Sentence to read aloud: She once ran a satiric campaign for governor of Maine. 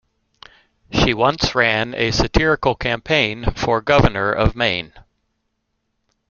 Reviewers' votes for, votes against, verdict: 0, 2, rejected